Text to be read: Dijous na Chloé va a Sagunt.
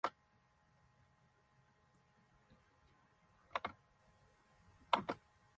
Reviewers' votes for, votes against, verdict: 0, 2, rejected